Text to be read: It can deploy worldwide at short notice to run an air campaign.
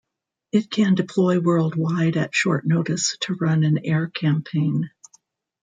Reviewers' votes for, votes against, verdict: 2, 1, accepted